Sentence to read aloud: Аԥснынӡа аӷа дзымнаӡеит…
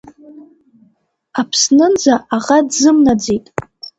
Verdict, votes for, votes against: accepted, 2, 0